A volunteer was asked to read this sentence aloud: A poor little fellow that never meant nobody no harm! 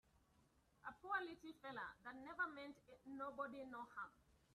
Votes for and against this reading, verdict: 1, 2, rejected